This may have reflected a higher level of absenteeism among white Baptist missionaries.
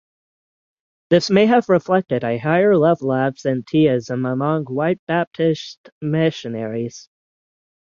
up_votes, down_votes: 3, 6